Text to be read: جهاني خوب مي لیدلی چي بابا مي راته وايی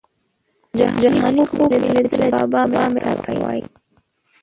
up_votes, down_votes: 0, 2